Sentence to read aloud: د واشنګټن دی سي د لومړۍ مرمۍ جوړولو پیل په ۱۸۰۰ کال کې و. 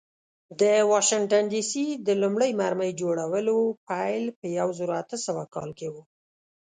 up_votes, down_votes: 0, 2